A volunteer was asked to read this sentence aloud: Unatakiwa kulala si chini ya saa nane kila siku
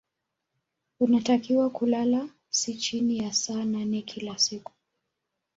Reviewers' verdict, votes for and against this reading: accepted, 2, 0